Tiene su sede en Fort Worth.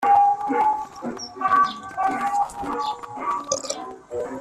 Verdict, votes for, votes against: rejected, 0, 2